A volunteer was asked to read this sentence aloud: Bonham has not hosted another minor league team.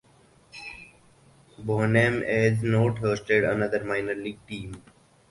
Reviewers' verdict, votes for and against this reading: accepted, 4, 0